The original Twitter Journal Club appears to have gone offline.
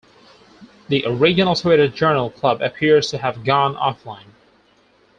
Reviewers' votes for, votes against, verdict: 4, 2, accepted